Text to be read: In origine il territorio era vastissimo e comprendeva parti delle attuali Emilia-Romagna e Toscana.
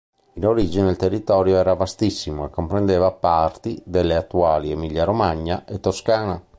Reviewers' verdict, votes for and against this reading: accepted, 2, 0